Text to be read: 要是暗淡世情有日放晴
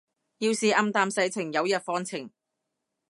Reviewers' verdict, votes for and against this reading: accepted, 2, 0